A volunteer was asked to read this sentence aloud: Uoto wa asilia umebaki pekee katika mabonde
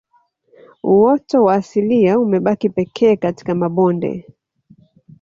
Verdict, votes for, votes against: rejected, 1, 2